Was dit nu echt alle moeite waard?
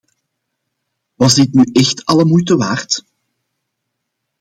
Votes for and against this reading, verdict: 2, 0, accepted